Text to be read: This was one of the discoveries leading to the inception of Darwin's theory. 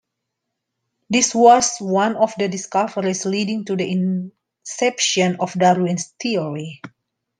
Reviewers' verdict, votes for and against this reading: accepted, 2, 0